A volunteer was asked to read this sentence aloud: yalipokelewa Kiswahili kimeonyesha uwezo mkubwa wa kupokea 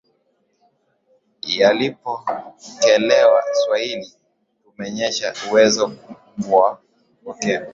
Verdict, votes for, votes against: rejected, 0, 3